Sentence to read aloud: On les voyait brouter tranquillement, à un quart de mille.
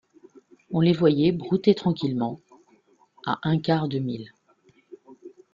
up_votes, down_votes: 2, 0